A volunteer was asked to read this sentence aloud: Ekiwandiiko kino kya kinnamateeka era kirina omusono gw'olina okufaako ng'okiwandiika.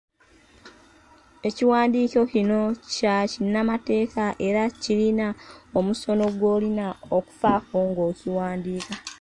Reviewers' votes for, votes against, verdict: 2, 1, accepted